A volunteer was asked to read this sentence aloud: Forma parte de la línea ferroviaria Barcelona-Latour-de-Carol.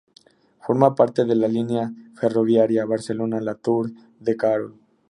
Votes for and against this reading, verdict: 2, 0, accepted